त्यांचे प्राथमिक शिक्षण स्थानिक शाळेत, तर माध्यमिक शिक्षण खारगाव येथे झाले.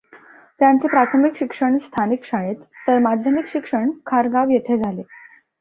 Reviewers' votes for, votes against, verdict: 2, 0, accepted